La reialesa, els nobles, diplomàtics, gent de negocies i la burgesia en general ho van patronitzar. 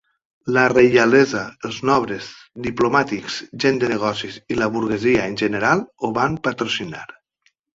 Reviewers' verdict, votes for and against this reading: rejected, 0, 2